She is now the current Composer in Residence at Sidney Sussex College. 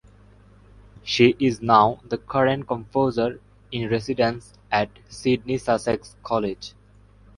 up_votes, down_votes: 2, 0